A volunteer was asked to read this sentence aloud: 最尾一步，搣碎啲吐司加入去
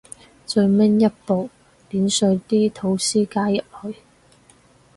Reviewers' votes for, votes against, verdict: 2, 2, rejected